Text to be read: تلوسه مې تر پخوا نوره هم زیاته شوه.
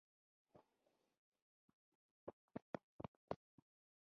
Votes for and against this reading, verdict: 1, 2, rejected